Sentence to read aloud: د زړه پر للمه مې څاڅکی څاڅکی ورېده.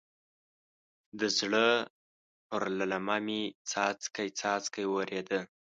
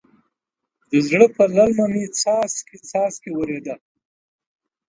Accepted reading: first